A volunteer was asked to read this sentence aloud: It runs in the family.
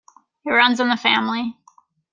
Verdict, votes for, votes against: accepted, 2, 1